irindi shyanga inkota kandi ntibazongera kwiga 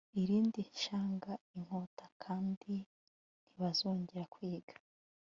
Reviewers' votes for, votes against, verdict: 2, 0, accepted